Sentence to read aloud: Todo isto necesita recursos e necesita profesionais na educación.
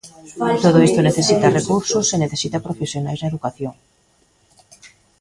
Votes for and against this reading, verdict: 2, 0, accepted